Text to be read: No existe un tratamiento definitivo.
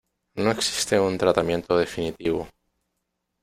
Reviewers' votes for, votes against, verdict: 1, 2, rejected